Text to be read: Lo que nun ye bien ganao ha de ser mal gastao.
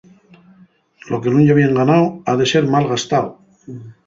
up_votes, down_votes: 0, 2